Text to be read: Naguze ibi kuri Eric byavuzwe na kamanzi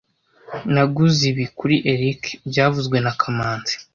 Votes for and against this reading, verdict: 2, 0, accepted